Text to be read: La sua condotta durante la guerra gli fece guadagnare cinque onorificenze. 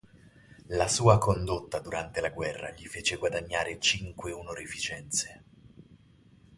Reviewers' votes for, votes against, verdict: 4, 0, accepted